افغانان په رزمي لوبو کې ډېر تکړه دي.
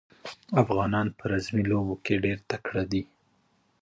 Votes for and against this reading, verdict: 2, 1, accepted